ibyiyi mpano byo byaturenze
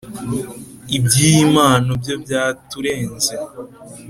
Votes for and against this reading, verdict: 4, 0, accepted